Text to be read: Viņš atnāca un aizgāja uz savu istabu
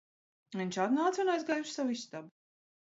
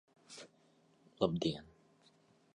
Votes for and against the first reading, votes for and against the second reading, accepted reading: 3, 2, 0, 2, first